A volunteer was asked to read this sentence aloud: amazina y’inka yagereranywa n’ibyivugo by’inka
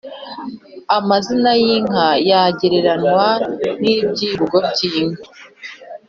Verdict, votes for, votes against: accepted, 2, 0